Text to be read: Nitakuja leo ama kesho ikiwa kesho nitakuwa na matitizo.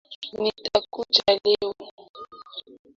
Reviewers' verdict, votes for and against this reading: rejected, 0, 2